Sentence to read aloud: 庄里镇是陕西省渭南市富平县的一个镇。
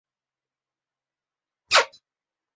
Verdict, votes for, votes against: rejected, 3, 4